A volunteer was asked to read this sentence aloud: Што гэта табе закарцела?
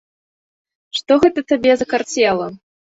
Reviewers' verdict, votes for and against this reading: accepted, 2, 0